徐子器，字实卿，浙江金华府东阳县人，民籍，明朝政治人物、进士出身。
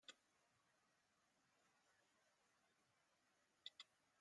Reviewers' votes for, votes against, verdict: 0, 2, rejected